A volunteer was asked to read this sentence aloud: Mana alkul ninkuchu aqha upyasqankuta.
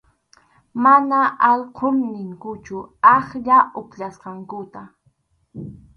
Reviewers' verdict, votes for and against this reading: rejected, 2, 2